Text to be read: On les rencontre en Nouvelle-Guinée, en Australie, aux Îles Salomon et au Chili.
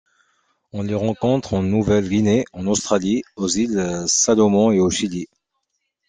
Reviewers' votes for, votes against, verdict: 2, 0, accepted